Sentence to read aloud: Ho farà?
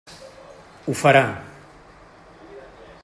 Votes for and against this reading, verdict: 0, 2, rejected